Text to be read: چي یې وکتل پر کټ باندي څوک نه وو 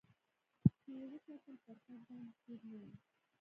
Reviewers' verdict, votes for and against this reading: rejected, 0, 2